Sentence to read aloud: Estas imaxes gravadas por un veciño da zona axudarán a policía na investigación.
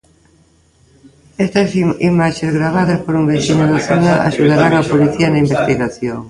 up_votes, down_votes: 0, 2